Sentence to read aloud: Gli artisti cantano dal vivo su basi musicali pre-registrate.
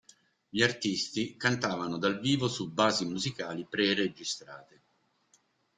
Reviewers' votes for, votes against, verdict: 1, 2, rejected